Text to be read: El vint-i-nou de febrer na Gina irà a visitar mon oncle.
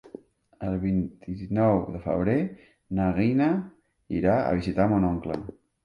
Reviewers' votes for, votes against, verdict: 1, 2, rejected